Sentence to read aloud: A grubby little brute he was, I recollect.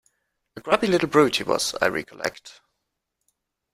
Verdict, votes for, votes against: accepted, 2, 0